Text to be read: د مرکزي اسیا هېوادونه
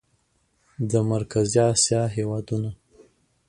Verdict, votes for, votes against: accepted, 2, 0